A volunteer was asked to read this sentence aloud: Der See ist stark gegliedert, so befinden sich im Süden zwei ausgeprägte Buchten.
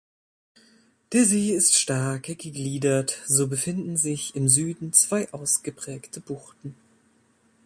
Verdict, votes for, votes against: rejected, 1, 2